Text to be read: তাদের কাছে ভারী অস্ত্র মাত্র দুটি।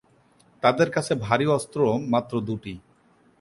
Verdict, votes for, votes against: accepted, 4, 0